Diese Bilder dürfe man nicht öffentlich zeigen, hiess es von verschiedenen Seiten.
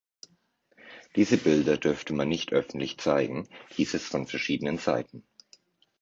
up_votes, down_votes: 0, 2